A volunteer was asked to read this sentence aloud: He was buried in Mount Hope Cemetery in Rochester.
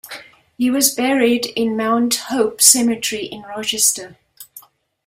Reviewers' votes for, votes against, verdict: 2, 0, accepted